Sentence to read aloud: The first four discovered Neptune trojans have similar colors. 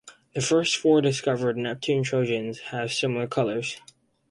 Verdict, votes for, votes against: accepted, 4, 0